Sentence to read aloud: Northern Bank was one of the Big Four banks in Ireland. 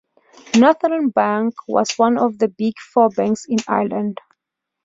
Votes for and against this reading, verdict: 2, 0, accepted